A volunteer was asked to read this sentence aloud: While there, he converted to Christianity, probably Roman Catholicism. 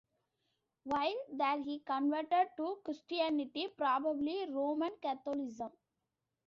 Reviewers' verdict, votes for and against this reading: rejected, 1, 2